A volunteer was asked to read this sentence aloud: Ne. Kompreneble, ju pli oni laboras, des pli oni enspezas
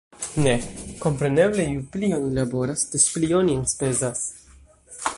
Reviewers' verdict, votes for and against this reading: accepted, 2, 1